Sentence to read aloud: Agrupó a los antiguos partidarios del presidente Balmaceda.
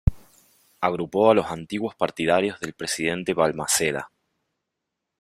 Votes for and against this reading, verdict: 2, 1, accepted